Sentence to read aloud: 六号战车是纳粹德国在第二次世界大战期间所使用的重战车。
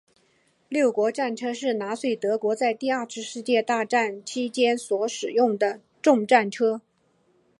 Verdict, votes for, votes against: accepted, 3, 2